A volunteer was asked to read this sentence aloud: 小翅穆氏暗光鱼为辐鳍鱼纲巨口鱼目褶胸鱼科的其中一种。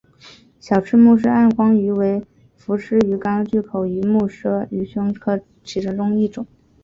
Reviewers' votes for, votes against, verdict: 2, 0, accepted